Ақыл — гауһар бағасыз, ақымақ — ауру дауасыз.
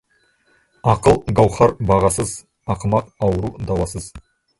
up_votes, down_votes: 0, 2